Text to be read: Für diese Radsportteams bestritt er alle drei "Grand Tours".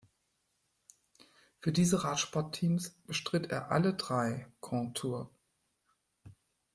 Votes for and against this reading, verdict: 1, 2, rejected